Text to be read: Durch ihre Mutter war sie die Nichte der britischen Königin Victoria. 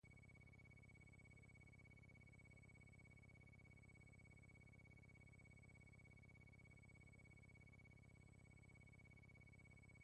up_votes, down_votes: 0, 2